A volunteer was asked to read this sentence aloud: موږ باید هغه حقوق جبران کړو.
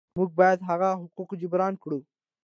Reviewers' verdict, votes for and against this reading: accepted, 2, 0